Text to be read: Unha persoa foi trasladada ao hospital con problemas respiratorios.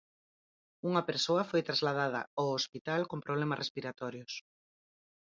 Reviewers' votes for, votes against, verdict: 2, 4, rejected